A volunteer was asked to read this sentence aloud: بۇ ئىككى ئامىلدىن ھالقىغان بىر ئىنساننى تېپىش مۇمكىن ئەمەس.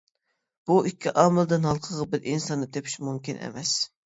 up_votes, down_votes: 0, 2